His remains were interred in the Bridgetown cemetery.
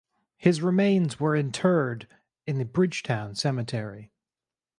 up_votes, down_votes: 4, 0